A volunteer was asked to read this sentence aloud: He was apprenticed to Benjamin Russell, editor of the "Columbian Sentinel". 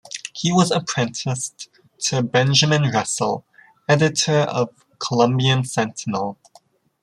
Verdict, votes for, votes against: rejected, 1, 2